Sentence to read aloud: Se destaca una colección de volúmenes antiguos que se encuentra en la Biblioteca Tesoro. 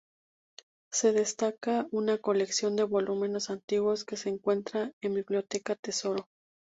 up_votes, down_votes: 0, 2